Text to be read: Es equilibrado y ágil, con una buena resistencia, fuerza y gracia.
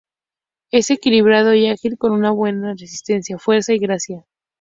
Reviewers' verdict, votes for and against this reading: accepted, 2, 0